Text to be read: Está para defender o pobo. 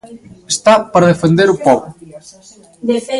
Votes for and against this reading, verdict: 1, 2, rejected